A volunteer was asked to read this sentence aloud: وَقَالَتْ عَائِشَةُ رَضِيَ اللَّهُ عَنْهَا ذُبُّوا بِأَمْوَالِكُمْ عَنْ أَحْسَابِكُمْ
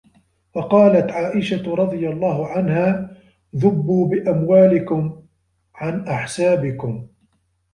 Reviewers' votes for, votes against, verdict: 1, 2, rejected